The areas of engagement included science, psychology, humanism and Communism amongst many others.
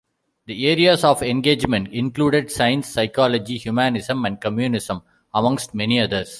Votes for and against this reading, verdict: 2, 0, accepted